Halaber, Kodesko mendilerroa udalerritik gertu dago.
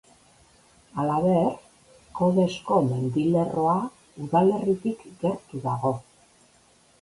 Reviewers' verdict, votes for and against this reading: accepted, 3, 0